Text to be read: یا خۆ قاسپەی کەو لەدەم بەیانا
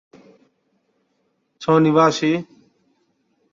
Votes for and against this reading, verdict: 0, 2, rejected